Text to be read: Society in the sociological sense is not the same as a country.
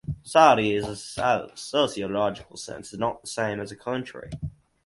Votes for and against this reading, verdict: 0, 4, rejected